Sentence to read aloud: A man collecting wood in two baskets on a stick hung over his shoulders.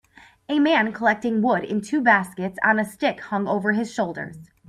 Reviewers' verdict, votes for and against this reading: rejected, 2, 3